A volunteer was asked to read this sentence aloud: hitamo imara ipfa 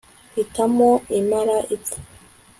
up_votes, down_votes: 2, 0